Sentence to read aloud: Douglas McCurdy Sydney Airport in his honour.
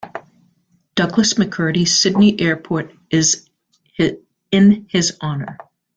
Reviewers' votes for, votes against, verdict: 0, 3, rejected